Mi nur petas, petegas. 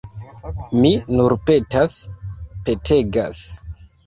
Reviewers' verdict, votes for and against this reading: accepted, 2, 0